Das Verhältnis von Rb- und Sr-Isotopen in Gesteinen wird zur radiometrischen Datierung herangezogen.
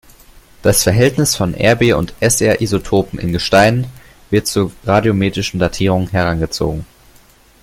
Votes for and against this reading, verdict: 2, 0, accepted